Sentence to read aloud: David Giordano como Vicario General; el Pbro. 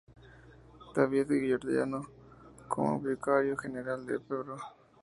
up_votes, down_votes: 0, 2